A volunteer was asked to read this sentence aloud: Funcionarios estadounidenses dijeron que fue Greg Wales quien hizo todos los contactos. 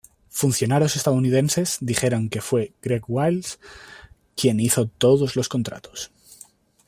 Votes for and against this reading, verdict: 0, 2, rejected